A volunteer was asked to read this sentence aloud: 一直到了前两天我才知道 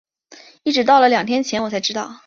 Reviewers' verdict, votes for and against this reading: accepted, 3, 0